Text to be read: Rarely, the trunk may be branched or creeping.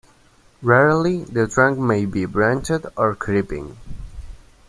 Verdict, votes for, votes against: rejected, 1, 2